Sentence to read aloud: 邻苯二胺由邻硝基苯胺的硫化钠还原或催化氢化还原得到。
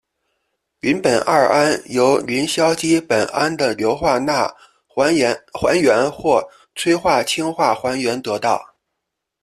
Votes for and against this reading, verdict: 2, 1, accepted